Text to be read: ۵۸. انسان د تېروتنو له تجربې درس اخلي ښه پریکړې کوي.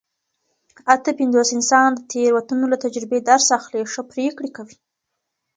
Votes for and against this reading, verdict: 0, 2, rejected